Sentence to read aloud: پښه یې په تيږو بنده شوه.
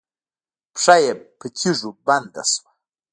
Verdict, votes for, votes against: rejected, 0, 2